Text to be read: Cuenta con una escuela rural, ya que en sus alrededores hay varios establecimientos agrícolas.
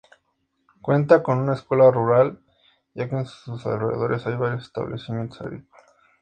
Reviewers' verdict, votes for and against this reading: accepted, 2, 0